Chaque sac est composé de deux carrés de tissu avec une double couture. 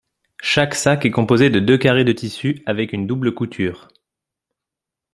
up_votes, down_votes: 2, 0